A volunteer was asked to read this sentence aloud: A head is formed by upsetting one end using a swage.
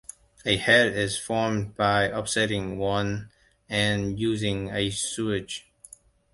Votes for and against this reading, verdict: 1, 2, rejected